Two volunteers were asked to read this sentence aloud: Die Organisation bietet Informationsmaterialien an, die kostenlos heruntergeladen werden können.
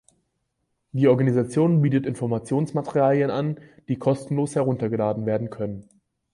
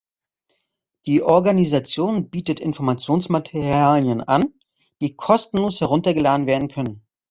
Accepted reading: first